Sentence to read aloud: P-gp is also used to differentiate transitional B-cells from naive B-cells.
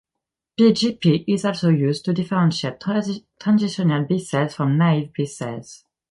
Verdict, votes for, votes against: rejected, 1, 2